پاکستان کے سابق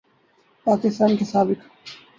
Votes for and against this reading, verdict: 4, 0, accepted